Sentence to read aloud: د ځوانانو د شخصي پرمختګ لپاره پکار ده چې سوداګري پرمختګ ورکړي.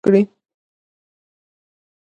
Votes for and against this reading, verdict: 0, 2, rejected